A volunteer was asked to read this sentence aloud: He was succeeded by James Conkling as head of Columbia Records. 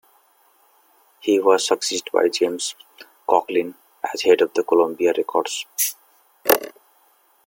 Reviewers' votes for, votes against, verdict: 2, 1, accepted